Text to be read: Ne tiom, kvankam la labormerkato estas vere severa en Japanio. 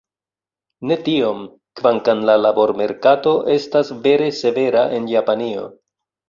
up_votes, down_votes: 2, 0